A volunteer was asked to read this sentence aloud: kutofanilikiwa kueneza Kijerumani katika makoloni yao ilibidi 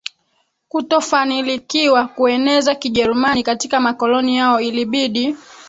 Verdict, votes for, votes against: rejected, 2, 3